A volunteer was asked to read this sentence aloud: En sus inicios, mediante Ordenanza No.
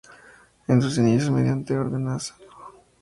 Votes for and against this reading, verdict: 4, 0, accepted